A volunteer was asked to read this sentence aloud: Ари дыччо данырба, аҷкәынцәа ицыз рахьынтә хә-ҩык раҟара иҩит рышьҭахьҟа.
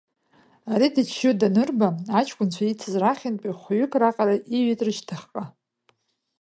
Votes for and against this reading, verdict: 1, 2, rejected